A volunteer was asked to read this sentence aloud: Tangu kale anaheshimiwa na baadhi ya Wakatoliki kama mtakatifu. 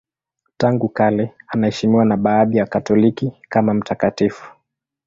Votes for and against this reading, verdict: 1, 2, rejected